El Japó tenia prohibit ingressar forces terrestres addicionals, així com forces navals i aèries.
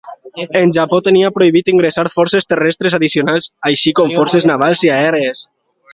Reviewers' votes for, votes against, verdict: 2, 0, accepted